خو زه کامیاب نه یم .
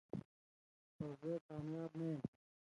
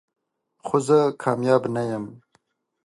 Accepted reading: second